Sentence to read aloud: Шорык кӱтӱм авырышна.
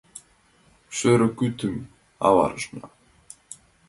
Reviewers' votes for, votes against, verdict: 1, 3, rejected